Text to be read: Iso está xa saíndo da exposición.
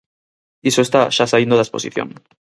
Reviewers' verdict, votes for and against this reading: accepted, 4, 0